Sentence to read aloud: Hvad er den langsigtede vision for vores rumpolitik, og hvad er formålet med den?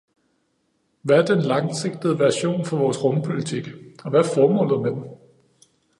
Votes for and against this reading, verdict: 1, 2, rejected